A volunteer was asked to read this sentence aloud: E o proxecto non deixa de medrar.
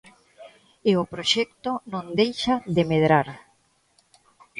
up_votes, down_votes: 2, 1